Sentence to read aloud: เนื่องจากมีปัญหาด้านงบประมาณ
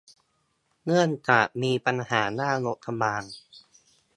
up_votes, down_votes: 2, 0